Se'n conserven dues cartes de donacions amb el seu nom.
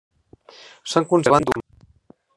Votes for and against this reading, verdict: 0, 2, rejected